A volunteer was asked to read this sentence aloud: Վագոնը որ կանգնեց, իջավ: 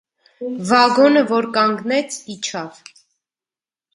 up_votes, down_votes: 0, 2